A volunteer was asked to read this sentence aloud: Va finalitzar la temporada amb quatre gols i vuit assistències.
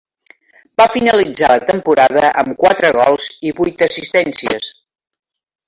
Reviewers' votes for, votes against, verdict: 0, 2, rejected